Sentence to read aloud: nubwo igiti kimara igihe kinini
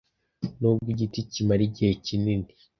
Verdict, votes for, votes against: accepted, 2, 0